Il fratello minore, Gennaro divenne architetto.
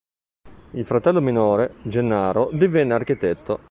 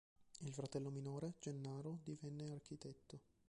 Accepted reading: first